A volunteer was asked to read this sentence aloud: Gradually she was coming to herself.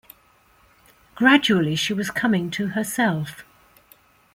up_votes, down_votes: 1, 2